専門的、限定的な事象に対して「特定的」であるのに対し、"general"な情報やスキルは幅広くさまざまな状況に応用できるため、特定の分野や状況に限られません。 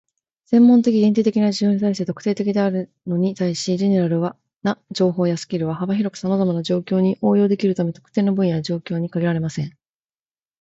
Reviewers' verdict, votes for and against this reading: accepted, 2, 1